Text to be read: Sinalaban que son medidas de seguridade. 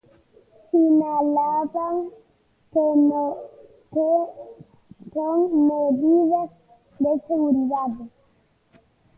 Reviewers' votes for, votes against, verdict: 0, 2, rejected